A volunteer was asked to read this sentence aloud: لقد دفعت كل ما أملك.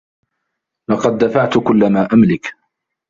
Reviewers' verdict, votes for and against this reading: rejected, 0, 2